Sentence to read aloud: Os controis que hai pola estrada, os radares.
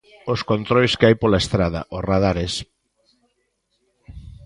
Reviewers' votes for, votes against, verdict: 1, 2, rejected